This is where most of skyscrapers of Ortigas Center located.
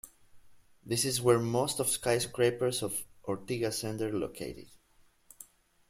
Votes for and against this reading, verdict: 2, 0, accepted